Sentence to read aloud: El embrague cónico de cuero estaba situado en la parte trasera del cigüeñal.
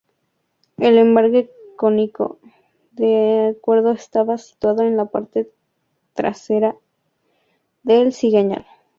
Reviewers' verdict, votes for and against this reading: rejected, 0, 4